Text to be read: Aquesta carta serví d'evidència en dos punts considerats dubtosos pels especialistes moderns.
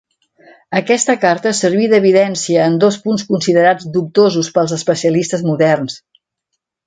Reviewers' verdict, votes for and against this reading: accepted, 3, 0